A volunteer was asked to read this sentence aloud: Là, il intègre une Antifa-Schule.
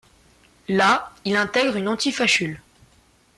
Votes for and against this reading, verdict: 2, 1, accepted